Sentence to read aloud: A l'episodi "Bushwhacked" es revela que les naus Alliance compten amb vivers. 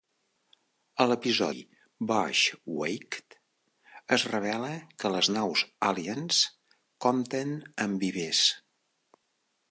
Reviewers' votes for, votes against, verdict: 1, 2, rejected